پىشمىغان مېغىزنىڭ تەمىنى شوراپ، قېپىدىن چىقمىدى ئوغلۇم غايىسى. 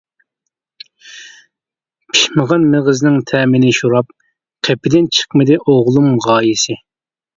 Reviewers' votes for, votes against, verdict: 3, 0, accepted